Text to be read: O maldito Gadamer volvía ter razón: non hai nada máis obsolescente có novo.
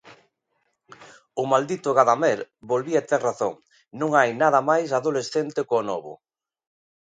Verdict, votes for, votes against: rejected, 0, 2